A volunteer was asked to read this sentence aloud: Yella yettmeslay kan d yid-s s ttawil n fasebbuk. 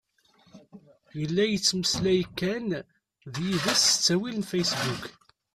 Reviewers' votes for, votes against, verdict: 2, 3, rejected